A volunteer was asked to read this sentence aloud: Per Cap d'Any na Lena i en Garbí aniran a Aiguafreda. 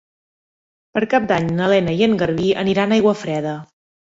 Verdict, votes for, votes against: accepted, 2, 0